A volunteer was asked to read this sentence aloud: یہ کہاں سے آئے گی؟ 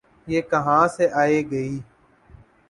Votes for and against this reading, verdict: 10, 2, accepted